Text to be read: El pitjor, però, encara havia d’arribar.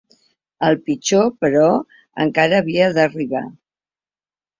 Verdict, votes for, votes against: accepted, 3, 0